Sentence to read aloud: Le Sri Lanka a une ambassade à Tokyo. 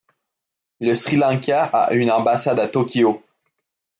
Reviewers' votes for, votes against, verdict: 2, 0, accepted